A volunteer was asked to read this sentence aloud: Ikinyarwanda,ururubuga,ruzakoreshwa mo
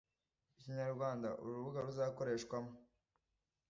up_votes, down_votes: 2, 0